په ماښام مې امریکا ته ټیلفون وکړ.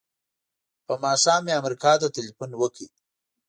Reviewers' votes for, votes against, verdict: 1, 2, rejected